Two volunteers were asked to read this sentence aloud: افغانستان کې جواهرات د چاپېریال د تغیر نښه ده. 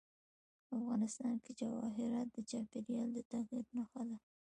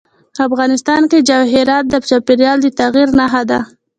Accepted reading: second